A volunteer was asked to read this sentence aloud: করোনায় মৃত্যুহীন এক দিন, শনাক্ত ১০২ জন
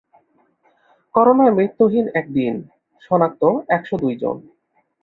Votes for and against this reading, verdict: 0, 2, rejected